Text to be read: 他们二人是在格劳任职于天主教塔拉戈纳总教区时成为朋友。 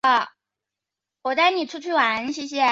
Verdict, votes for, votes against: rejected, 0, 4